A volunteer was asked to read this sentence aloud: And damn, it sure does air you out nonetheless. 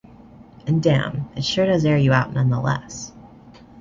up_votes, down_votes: 2, 0